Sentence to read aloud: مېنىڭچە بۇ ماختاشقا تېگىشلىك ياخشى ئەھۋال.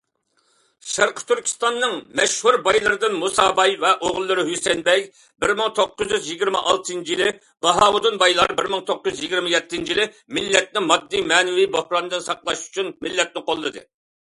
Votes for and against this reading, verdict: 0, 2, rejected